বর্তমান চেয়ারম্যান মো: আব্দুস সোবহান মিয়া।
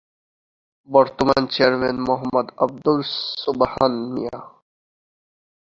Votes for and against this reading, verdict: 0, 2, rejected